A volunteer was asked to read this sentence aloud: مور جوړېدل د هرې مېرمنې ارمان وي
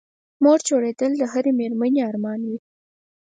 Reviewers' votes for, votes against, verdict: 4, 0, accepted